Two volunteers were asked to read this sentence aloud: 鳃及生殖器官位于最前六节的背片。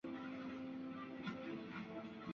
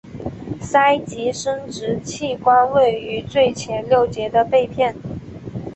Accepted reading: second